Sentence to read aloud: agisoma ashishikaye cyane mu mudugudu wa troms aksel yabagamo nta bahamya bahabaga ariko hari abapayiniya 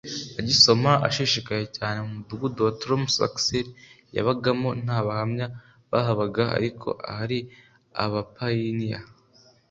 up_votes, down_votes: 2, 0